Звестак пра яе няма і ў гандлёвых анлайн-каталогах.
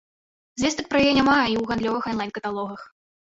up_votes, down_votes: 0, 2